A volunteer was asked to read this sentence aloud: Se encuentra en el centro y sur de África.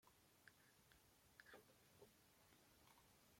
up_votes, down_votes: 0, 2